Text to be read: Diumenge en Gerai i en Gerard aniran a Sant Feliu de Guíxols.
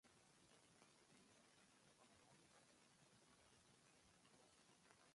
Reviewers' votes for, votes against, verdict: 1, 2, rejected